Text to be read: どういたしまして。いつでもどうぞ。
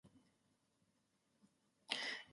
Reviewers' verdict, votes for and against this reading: rejected, 0, 2